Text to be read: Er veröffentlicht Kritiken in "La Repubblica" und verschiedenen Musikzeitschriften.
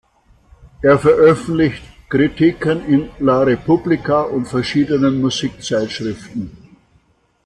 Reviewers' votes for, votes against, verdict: 2, 0, accepted